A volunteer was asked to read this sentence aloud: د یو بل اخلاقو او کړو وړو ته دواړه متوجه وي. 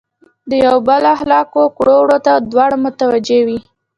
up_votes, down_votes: 0, 2